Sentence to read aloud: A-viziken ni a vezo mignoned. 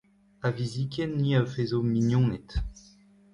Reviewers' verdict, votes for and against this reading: accepted, 2, 1